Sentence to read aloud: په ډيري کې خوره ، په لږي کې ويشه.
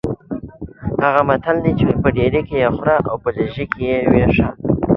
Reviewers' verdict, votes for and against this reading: rejected, 0, 2